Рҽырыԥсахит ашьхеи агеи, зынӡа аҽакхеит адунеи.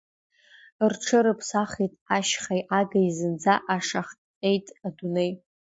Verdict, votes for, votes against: rejected, 1, 2